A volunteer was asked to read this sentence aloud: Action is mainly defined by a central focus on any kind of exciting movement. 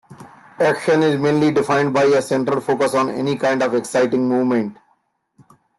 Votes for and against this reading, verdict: 2, 0, accepted